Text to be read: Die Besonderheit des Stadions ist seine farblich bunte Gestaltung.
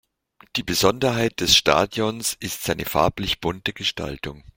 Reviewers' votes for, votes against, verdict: 2, 0, accepted